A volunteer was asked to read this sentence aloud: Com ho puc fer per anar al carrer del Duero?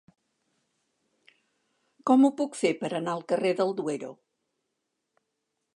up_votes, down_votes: 3, 0